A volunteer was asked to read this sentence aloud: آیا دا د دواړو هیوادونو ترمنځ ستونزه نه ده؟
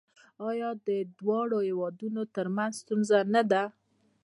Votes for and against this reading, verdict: 1, 2, rejected